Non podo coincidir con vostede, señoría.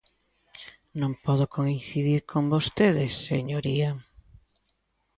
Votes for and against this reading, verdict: 2, 0, accepted